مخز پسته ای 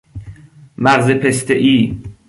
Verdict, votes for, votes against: rejected, 1, 2